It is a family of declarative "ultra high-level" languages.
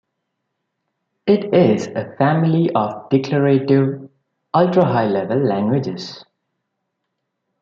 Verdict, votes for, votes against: accepted, 2, 0